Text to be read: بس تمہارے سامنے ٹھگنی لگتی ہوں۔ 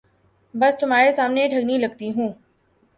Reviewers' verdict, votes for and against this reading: accepted, 2, 0